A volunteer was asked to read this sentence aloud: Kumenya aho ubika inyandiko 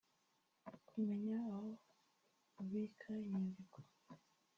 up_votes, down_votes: 1, 2